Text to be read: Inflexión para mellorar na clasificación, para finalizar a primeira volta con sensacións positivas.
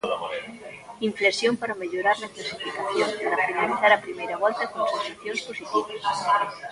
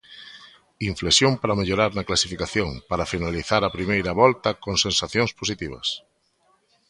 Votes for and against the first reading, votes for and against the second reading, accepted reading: 1, 2, 2, 0, second